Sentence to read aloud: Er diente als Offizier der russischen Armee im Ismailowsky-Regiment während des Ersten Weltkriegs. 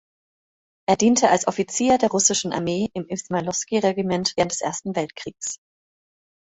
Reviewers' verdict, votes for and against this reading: accepted, 3, 0